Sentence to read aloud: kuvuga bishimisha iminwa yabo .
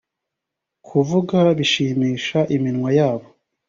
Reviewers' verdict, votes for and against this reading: accepted, 2, 0